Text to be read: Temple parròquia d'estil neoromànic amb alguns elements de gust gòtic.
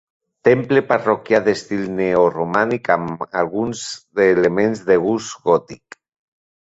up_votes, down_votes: 1, 2